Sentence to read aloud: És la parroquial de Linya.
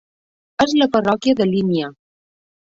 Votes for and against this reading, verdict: 1, 2, rejected